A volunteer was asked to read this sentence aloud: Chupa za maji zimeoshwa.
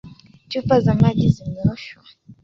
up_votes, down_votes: 2, 0